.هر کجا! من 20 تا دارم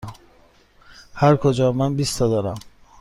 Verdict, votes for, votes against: rejected, 0, 2